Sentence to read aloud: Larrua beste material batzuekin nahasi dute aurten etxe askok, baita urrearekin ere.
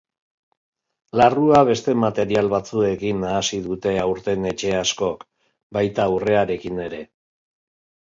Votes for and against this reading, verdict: 3, 0, accepted